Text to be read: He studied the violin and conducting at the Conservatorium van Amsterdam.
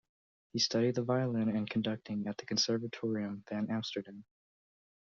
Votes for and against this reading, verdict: 2, 0, accepted